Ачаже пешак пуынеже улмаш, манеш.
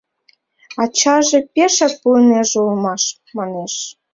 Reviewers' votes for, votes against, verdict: 2, 0, accepted